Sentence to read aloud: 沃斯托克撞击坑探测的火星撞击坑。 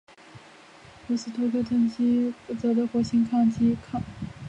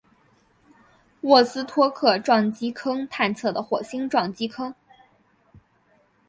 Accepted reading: second